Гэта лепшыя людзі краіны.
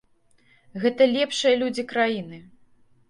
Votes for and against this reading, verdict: 2, 0, accepted